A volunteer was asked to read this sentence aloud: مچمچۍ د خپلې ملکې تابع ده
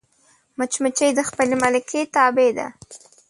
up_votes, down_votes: 2, 0